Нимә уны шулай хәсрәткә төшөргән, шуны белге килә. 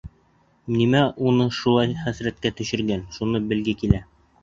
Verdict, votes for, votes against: accepted, 2, 0